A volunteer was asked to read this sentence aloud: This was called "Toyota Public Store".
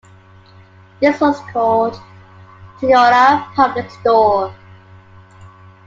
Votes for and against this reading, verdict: 2, 0, accepted